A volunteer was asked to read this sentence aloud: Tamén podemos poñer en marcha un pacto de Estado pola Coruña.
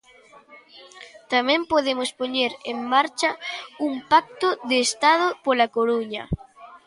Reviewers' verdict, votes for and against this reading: accepted, 2, 0